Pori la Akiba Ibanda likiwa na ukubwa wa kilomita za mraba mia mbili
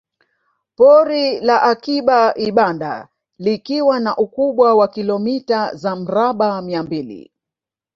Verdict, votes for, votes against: accepted, 2, 1